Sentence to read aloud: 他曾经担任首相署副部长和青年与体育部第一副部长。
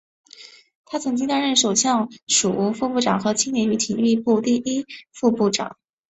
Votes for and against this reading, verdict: 5, 1, accepted